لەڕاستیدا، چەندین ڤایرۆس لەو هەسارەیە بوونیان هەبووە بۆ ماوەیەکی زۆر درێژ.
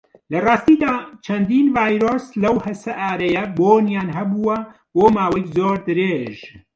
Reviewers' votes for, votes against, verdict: 1, 2, rejected